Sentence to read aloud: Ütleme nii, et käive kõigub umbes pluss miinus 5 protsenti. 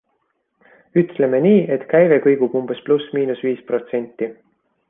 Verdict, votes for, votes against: rejected, 0, 2